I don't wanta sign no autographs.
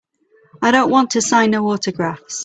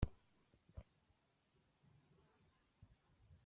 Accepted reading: first